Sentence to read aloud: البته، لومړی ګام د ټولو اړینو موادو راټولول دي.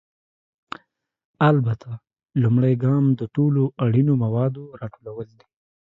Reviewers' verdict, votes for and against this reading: accepted, 2, 0